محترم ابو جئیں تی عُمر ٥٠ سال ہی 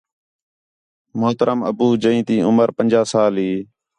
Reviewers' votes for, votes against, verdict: 0, 2, rejected